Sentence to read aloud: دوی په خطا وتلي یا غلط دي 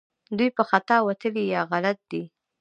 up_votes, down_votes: 2, 0